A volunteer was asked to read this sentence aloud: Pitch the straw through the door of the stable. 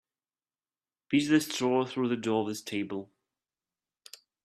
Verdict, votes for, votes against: rejected, 1, 2